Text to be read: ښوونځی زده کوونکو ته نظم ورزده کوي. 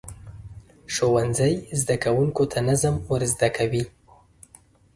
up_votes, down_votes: 2, 0